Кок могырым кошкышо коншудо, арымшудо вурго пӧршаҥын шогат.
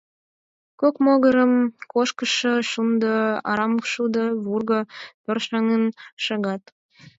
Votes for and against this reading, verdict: 0, 4, rejected